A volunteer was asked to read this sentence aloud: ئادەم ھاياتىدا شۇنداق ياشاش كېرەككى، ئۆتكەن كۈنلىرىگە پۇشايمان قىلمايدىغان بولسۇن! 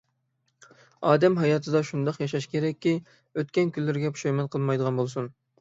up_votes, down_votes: 6, 0